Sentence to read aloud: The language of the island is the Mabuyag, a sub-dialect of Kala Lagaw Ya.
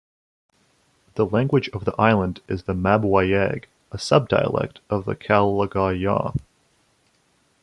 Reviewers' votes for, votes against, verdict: 1, 2, rejected